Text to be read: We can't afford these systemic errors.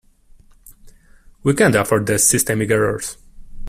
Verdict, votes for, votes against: accepted, 2, 1